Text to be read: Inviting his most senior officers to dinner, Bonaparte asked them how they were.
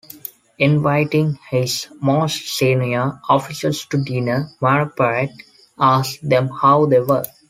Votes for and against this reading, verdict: 2, 0, accepted